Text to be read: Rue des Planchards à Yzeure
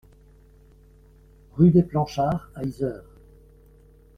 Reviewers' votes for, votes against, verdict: 1, 2, rejected